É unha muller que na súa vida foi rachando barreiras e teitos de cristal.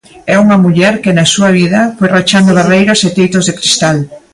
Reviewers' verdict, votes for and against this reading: accepted, 2, 0